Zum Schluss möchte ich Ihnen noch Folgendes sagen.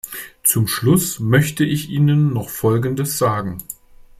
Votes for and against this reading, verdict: 2, 0, accepted